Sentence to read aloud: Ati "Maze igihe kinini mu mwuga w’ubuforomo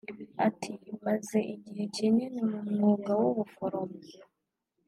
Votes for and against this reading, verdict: 2, 0, accepted